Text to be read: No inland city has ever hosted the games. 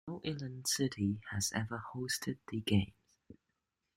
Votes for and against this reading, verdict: 2, 1, accepted